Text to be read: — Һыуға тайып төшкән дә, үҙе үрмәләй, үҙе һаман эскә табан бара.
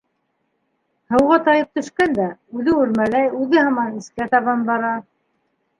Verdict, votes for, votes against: accepted, 2, 1